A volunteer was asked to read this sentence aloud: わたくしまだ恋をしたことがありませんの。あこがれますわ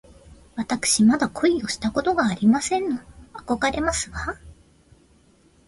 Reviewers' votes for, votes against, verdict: 2, 0, accepted